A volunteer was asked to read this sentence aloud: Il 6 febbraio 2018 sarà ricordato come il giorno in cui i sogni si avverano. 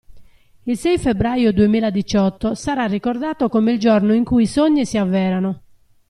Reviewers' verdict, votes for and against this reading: rejected, 0, 2